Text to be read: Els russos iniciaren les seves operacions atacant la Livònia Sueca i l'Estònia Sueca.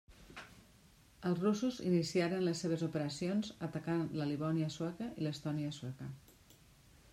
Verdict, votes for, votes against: rejected, 0, 2